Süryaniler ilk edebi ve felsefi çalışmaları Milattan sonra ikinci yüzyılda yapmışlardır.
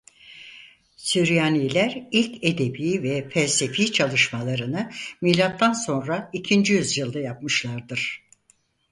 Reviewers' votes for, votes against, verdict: 2, 4, rejected